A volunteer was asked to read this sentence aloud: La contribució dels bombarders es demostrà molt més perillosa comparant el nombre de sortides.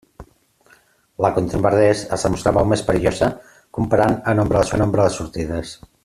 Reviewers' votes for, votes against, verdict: 0, 2, rejected